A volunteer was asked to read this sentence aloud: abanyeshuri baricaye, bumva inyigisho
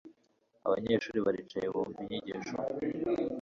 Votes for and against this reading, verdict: 2, 0, accepted